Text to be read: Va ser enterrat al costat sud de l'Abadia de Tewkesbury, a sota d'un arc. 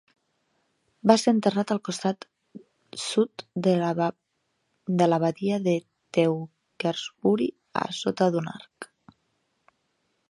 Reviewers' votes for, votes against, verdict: 0, 2, rejected